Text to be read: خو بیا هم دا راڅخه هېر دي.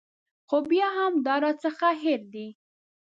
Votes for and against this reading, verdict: 2, 0, accepted